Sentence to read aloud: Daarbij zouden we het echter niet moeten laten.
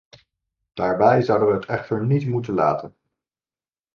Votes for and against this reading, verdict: 1, 2, rejected